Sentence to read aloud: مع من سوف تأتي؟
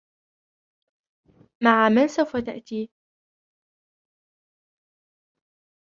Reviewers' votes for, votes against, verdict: 0, 2, rejected